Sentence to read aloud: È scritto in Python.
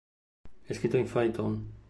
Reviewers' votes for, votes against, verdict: 0, 2, rejected